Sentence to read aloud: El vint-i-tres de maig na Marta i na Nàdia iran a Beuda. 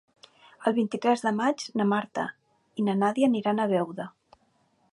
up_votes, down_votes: 0, 2